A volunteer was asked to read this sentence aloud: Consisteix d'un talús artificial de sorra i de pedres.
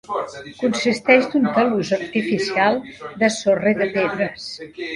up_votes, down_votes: 1, 2